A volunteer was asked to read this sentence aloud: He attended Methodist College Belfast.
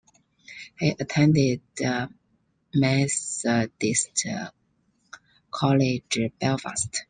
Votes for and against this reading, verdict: 1, 2, rejected